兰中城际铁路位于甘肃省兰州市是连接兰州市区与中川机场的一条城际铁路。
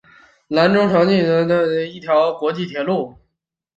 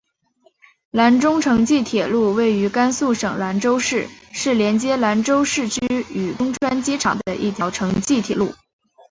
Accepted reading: second